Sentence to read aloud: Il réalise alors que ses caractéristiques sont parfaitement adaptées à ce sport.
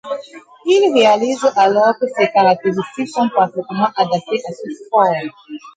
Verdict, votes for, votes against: accepted, 2, 0